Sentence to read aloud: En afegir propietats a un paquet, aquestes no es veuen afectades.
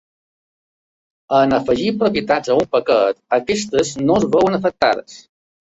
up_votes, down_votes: 2, 0